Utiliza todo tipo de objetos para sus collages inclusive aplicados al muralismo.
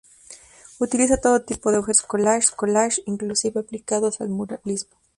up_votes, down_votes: 2, 2